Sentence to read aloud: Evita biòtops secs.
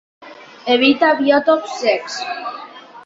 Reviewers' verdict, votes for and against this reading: rejected, 0, 2